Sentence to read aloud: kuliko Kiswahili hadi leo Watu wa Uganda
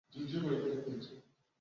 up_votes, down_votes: 0, 2